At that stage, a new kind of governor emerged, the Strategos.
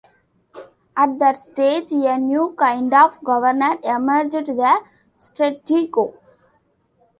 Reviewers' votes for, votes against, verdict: 1, 2, rejected